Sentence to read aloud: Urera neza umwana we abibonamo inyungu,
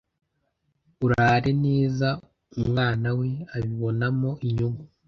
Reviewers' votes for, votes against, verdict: 0, 2, rejected